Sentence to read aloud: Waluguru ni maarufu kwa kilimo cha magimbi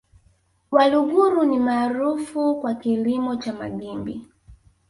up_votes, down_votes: 2, 0